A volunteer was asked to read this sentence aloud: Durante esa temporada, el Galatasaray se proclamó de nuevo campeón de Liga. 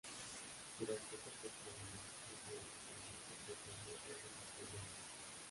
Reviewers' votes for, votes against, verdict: 0, 2, rejected